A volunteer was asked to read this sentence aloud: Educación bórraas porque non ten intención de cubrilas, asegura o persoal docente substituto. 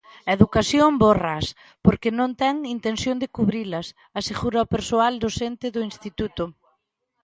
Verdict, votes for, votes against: rejected, 1, 2